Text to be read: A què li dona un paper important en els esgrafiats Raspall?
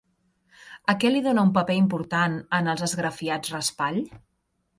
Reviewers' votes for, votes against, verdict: 2, 0, accepted